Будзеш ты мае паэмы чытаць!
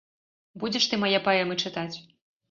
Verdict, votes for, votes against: accepted, 2, 0